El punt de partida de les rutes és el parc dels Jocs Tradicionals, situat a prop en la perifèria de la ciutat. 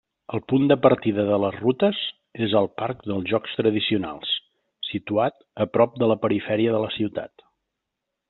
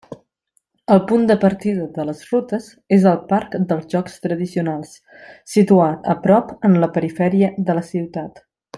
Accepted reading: second